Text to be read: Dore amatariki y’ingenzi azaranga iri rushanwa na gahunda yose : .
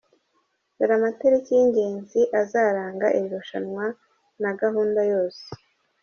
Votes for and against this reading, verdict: 1, 2, rejected